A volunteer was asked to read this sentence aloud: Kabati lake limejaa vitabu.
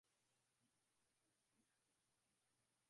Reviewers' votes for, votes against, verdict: 0, 2, rejected